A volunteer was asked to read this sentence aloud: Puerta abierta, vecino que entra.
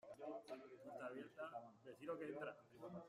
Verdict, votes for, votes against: rejected, 0, 2